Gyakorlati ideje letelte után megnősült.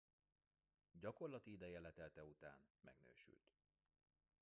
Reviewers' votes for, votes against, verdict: 1, 2, rejected